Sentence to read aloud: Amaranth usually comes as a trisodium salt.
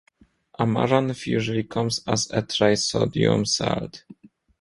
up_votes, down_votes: 2, 1